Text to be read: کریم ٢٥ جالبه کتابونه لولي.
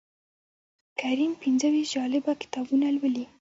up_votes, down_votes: 0, 2